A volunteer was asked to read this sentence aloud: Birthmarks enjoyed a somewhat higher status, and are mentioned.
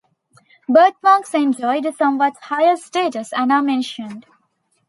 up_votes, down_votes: 2, 0